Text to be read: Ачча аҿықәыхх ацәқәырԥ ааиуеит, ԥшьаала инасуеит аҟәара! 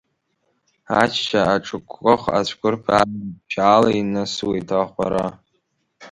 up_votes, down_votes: 1, 2